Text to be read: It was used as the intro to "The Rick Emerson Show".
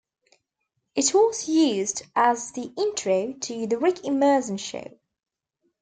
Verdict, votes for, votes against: rejected, 0, 2